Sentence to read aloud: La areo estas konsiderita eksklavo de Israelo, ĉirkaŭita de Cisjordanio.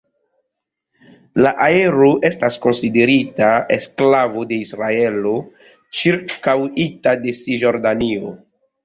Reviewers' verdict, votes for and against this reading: rejected, 0, 2